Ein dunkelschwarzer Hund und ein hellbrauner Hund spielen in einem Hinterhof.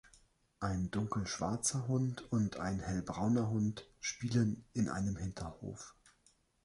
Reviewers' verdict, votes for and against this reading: accepted, 3, 0